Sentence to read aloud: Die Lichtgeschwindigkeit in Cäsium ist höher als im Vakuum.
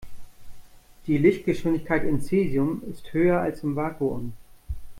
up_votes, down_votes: 2, 0